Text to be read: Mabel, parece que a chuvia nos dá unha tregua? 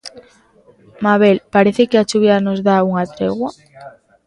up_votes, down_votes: 2, 0